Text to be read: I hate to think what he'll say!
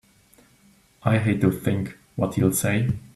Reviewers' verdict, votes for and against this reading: accepted, 2, 1